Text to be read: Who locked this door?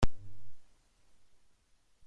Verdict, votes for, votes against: rejected, 0, 2